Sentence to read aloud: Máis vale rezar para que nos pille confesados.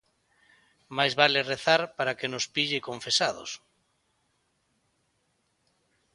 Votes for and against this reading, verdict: 2, 0, accepted